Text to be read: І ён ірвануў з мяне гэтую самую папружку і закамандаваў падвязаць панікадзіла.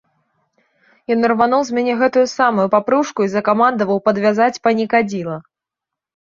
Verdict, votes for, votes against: accepted, 2, 1